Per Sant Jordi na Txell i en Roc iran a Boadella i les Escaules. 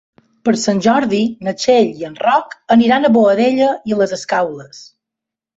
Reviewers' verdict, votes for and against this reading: rejected, 0, 2